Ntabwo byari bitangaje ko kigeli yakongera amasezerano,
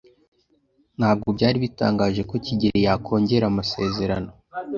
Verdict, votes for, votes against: rejected, 0, 2